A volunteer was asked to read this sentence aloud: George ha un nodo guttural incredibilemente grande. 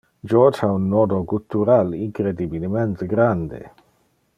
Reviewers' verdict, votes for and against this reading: accepted, 2, 0